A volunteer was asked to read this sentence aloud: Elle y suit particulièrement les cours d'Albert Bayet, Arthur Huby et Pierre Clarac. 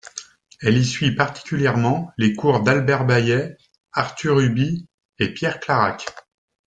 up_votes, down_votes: 2, 0